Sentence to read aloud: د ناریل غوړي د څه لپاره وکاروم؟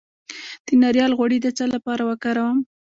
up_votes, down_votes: 2, 0